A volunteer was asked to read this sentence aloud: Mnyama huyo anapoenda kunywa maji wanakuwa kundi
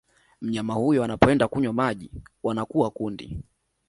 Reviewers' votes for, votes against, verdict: 2, 0, accepted